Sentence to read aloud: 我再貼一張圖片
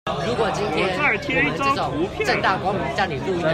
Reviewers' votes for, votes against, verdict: 1, 2, rejected